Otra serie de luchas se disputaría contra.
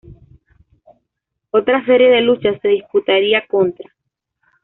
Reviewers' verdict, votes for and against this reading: accepted, 2, 0